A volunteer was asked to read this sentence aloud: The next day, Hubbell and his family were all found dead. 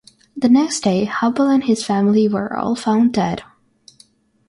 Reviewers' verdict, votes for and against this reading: rejected, 3, 3